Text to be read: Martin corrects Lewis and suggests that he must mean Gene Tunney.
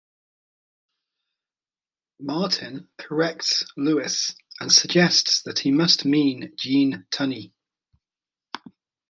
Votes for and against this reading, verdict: 2, 0, accepted